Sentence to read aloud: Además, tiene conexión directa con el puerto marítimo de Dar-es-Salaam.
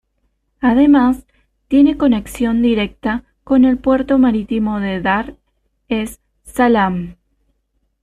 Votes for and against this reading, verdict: 2, 0, accepted